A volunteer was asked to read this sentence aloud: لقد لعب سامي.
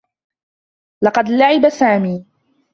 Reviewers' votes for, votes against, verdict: 2, 0, accepted